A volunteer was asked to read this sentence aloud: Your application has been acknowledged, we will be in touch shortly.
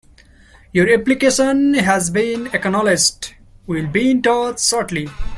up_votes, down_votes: 1, 2